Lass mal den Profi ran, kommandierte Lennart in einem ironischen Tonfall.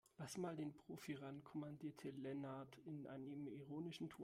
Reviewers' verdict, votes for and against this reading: rejected, 2, 3